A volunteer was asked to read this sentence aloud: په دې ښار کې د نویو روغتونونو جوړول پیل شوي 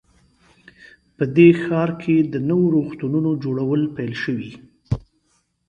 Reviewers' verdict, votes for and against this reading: accepted, 3, 0